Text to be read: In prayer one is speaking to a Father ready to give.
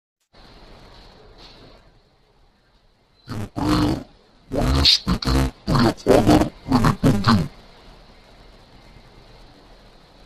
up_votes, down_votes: 0, 2